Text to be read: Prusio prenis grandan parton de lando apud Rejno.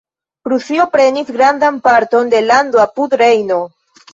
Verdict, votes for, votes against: accepted, 3, 0